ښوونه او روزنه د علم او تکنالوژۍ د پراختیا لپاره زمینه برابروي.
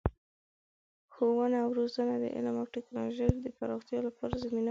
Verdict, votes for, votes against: accepted, 2, 1